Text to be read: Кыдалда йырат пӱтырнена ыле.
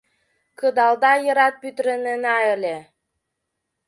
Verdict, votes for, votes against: rejected, 1, 2